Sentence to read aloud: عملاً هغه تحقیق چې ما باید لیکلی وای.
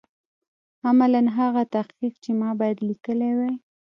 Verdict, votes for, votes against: accepted, 2, 0